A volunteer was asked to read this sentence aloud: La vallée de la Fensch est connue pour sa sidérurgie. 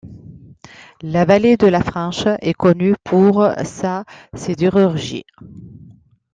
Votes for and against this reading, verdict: 2, 0, accepted